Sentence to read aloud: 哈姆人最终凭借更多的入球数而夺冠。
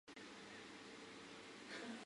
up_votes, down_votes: 0, 2